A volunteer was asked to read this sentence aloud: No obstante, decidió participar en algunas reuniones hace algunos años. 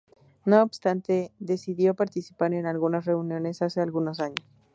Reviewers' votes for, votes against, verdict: 0, 2, rejected